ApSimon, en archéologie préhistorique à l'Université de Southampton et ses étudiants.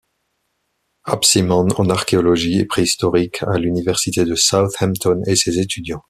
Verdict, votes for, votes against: accepted, 2, 0